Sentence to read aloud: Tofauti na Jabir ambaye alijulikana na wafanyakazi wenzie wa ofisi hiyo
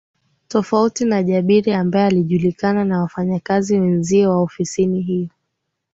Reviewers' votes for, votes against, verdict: 5, 4, accepted